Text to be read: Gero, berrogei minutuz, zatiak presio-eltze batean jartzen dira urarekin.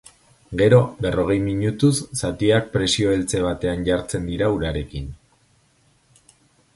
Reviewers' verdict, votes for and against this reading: accepted, 2, 0